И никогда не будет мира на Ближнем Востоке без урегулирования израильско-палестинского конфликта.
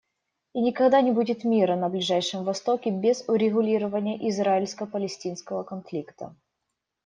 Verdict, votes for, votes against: rejected, 0, 2